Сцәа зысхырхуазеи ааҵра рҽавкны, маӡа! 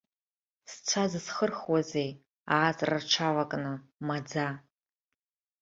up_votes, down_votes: 0, 2